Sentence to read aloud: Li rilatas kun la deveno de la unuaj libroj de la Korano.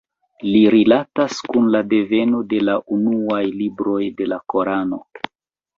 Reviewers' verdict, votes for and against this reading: rejected, 0, 2